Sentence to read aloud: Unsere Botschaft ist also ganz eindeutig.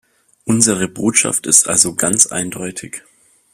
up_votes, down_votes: 2, 0